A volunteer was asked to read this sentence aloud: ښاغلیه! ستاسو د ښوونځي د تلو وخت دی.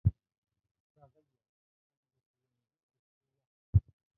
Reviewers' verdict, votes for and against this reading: rejected, 0, 2